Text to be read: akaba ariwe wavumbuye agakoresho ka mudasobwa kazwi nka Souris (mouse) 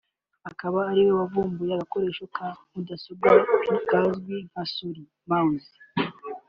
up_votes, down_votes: 3, 0